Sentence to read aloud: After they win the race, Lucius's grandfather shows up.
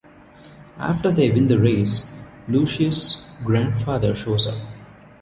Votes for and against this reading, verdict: 1, 2, rejected